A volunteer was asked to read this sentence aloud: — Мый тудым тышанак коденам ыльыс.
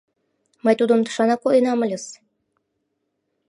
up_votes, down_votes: 2, 0